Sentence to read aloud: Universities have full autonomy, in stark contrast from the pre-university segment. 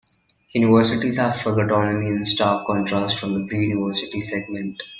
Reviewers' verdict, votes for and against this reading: accepted, 2, 1